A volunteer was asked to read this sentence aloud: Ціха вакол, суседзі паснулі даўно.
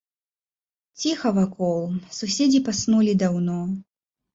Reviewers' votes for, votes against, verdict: 2, 0, accepted